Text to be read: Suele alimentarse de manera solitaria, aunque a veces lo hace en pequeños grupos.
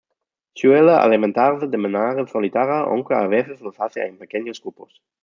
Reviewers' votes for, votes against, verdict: 0, 2, rejected